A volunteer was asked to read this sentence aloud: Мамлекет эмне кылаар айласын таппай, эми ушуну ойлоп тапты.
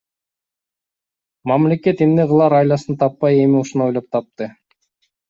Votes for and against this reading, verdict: 2, 0, accepted